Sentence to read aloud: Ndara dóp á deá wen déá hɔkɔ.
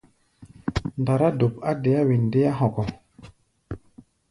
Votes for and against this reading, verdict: 1, 2, rejected